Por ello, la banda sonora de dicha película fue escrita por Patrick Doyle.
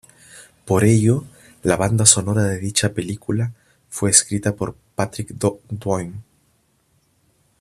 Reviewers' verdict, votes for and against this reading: rejected, 1, 2